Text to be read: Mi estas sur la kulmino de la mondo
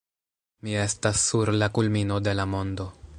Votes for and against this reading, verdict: 1, 2, rejected